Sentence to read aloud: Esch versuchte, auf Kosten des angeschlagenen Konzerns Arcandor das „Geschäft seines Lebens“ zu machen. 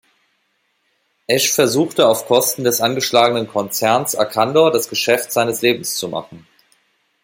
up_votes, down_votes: 2, 0